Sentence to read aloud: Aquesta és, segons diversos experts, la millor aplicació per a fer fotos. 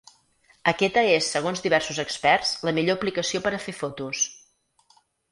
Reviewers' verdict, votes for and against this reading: rejected, 0, 4